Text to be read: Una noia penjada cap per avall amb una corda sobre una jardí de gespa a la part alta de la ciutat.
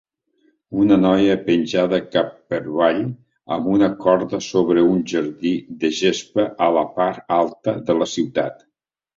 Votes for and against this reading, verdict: 0, 2, rejected